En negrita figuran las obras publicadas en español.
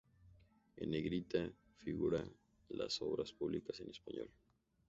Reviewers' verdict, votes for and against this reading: accepted, 2, 0